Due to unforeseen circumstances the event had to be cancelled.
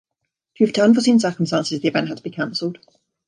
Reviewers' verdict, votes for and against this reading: accepted, 2, 0